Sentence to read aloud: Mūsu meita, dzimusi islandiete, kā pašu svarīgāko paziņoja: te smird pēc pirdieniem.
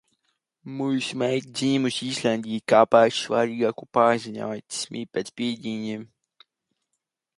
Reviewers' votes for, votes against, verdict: 0, 2, rejected